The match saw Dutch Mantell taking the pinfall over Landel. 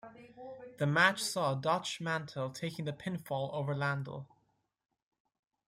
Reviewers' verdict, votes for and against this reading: accepted, 2, 0